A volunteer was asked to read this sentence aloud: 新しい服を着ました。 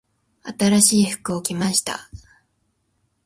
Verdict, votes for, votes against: accepted, 2, 0